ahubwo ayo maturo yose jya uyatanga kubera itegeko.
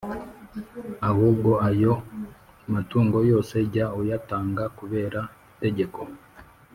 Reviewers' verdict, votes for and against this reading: rejected, 3, 4